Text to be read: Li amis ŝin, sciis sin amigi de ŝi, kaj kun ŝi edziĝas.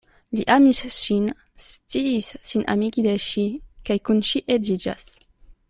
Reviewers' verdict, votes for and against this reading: accepted, 2, 0